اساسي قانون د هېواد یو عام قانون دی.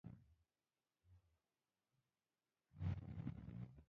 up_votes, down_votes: 0, 2